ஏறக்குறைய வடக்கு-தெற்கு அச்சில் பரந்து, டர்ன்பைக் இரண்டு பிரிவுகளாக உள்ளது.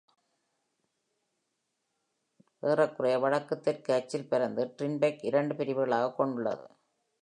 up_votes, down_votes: 2, 0